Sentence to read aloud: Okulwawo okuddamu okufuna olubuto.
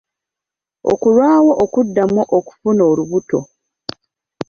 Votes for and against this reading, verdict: 1, 2, rejected